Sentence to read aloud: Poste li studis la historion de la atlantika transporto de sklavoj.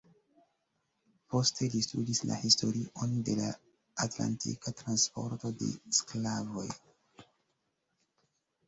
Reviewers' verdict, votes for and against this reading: rejected, 0, 2